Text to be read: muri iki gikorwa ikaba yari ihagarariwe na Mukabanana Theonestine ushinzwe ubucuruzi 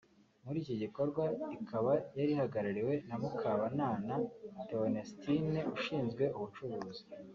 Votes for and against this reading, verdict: 1, 2, rejected